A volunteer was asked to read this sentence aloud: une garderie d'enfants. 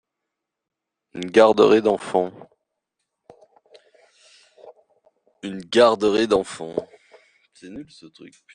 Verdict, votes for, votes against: rejected, 0, 2